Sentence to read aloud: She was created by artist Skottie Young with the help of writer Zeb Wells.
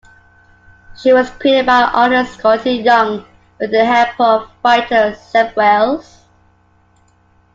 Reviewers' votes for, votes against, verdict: 2, 1, accepted